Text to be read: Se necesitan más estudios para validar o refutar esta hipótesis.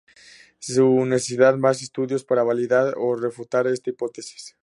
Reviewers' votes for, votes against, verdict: 2, 2, rejected